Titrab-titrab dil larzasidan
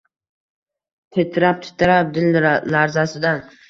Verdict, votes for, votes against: accepted, 2, 0